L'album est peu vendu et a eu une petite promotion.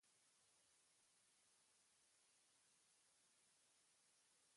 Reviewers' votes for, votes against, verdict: 0, 2, rejected